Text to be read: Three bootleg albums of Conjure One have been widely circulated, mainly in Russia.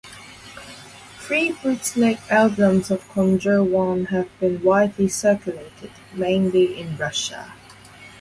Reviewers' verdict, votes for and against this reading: rejected, 2, 4